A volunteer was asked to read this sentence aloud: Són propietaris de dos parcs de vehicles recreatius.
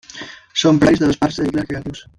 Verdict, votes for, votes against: rejected, 0, 2